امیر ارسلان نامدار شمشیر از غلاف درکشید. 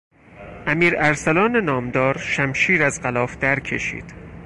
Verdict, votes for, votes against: accepted, 4, 0